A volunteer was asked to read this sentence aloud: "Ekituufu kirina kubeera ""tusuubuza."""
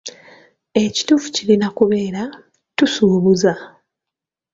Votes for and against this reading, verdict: 2, 0, accepted